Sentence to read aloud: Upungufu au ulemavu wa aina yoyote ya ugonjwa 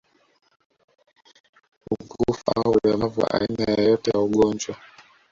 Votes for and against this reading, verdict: 2, 0, accepted